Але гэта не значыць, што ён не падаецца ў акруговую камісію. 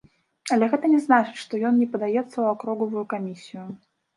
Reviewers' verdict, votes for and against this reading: rejected, 1, 2